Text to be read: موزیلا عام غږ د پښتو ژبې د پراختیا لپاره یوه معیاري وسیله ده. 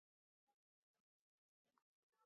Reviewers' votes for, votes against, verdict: 0, 2, rejected